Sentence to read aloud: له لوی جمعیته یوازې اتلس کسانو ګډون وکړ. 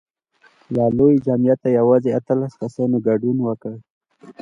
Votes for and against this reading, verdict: 2, 0, accepted